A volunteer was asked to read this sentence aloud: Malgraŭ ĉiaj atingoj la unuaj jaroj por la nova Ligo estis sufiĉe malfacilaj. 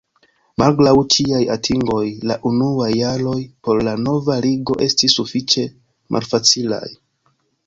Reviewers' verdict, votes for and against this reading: accepted, 2, 0